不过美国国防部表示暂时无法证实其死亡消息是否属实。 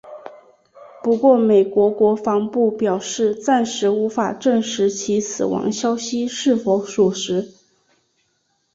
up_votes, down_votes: 2, 1